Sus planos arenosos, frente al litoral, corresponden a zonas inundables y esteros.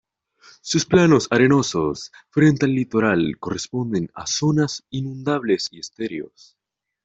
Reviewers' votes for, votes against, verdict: 1, 2, rejected